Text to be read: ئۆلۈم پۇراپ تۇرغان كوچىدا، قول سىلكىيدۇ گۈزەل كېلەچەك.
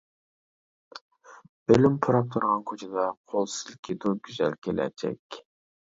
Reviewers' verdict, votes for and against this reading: rejected, 1, 2